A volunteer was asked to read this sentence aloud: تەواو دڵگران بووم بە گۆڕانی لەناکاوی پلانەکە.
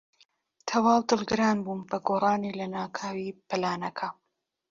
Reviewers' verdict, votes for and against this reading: accepted, 2, 0